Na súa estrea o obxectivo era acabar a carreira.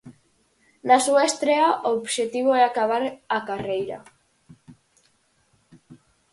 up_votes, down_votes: 0, 4